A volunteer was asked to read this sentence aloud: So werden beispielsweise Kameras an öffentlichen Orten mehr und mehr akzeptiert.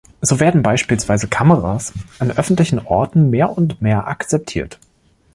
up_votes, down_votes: 2, 0